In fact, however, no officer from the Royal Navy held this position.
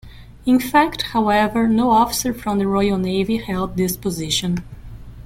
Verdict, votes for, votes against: accepted, 2, 0